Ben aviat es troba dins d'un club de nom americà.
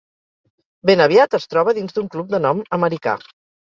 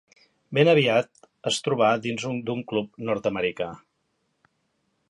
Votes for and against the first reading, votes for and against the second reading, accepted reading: 4, 0, 0, 2, first